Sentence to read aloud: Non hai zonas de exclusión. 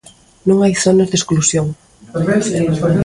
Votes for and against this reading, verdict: 1, 2, rejected